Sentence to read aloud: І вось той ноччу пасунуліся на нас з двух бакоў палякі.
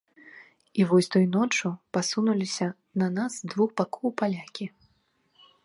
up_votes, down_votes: 2, 0